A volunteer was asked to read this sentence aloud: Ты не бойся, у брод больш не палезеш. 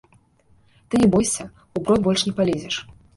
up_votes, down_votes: 1, 2